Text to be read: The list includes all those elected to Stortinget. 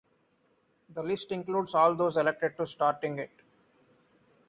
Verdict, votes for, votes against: rejected, 2, 2